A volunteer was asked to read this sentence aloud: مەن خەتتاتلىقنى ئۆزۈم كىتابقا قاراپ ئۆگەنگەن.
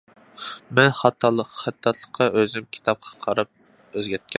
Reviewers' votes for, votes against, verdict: 0, 2, rejected